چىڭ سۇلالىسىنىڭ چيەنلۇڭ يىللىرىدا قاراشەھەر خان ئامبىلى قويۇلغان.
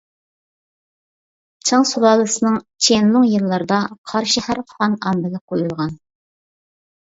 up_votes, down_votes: 0, 2